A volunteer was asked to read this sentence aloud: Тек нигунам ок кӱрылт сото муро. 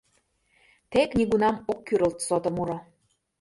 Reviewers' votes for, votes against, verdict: 2, 0, accepted